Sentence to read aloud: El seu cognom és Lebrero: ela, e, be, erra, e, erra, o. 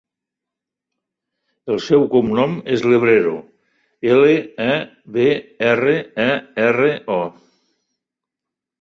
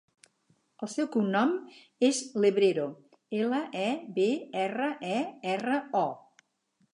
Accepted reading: second